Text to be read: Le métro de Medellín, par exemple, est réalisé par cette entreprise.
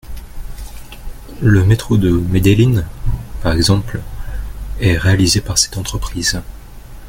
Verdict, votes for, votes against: accepted, 2, 0